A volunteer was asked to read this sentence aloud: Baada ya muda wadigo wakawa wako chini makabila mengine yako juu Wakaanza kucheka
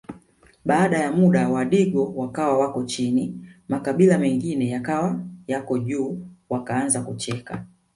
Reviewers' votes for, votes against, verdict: 0, 2, rejected